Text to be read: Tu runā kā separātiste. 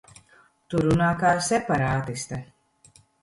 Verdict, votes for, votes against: accepted, 2, 0